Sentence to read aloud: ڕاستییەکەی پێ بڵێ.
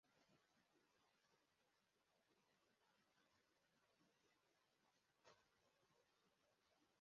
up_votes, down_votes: 0, 2